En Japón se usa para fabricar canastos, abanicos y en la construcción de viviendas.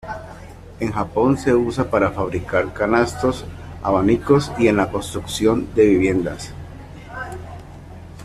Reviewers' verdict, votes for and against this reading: accepted, 2, 1